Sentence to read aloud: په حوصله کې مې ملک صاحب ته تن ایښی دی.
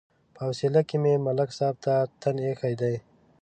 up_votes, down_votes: 5, 1